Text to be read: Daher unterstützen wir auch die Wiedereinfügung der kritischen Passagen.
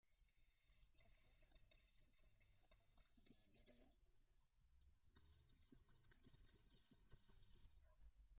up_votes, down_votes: 0, 2